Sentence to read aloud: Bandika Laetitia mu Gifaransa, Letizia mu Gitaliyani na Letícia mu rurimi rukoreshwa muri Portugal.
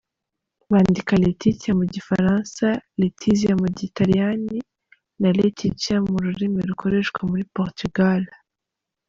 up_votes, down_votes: 0, 2